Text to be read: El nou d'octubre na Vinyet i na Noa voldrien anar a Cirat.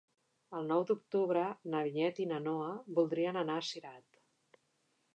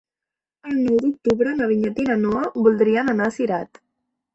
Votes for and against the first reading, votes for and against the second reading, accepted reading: 3, 0, 0, 2, first